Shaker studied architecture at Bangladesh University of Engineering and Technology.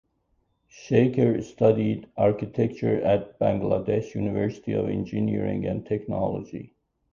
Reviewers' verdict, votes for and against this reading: accepted, 2, 0